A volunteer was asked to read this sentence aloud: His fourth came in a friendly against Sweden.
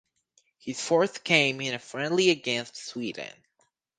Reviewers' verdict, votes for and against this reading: accepted, 4, 0